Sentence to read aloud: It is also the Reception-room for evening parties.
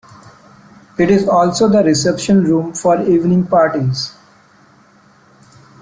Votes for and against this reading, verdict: 2, 0, accepted